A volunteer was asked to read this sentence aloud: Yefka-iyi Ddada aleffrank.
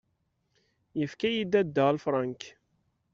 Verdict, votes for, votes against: rejected, 1, 2